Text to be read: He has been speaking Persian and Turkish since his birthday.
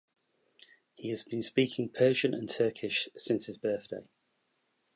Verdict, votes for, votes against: accepted, 4, 0